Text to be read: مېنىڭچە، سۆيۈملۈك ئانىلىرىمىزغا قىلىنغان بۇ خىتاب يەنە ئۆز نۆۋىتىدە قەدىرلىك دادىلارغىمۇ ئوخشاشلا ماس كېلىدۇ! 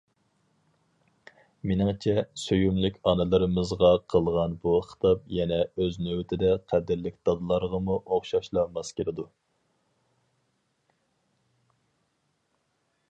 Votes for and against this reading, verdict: 0, 4, rejected